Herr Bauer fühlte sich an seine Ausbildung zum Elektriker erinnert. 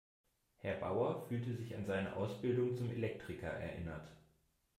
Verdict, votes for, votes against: accepted, 2, 0